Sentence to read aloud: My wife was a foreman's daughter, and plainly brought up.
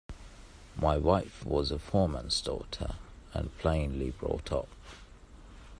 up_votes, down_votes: 2, 0